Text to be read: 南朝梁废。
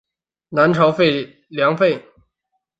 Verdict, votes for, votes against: rejected, 0, 2